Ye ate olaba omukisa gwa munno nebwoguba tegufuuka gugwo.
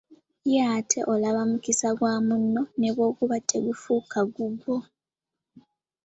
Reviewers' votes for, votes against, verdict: 3, 1, accepted